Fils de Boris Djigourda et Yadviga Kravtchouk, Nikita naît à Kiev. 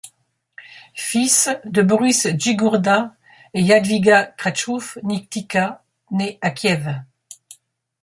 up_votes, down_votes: 0, 2